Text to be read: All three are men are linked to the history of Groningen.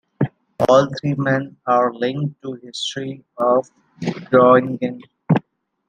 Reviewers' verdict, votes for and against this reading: rejected, 1, 2